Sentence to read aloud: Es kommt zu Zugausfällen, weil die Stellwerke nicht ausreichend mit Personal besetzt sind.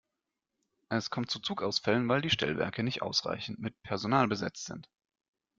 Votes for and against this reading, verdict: 2, 0, accepted